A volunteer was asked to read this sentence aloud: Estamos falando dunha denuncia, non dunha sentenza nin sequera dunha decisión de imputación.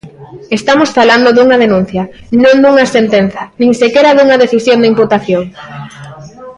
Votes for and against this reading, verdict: 2, 0, accepted